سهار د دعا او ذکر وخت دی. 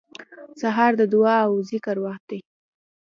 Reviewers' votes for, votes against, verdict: 2, 0, accepted